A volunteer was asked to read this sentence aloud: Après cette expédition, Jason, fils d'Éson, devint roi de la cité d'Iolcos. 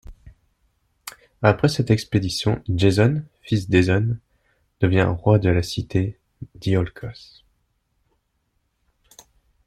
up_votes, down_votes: 1, 2